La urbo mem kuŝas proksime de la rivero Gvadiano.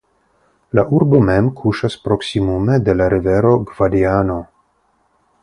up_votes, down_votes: 0, 3